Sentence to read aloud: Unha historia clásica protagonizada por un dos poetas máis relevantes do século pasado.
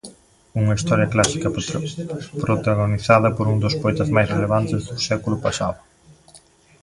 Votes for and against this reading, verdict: 0, 2, rejected